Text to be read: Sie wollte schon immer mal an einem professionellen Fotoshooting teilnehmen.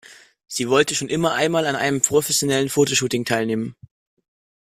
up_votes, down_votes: 1, 2